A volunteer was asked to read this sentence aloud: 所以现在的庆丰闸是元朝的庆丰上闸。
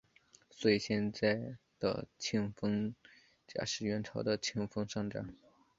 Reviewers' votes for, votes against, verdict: 2, 0, accepted